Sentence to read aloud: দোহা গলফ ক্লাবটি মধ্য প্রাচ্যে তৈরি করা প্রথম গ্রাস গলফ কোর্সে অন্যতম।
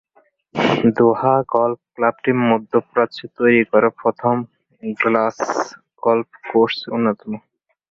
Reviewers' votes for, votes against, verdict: 1, 2, rejected